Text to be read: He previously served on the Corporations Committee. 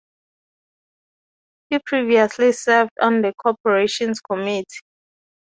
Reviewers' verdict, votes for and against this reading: rejected, 2, 2